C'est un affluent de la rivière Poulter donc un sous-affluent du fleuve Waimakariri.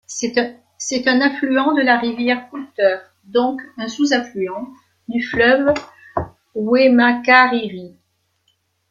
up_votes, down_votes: 1, 2